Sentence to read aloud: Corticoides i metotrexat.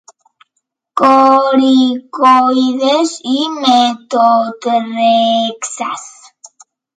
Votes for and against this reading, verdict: 0, 2, rejected